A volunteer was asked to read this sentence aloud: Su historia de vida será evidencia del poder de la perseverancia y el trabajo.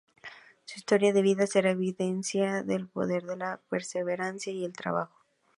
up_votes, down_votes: 2, 0